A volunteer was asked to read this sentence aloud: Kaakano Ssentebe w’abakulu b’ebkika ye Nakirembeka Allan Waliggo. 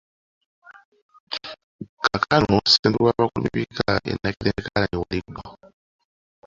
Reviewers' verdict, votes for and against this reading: rejected, 1, 2